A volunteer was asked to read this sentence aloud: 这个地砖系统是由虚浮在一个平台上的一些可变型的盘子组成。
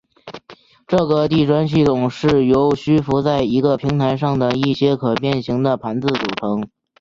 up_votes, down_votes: 2, 0